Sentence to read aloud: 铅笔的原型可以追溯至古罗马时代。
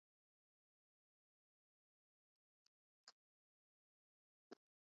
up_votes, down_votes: 2, 4